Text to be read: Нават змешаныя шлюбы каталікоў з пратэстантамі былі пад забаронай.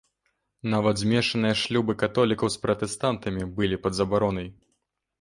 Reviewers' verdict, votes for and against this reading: rejected, 1, 2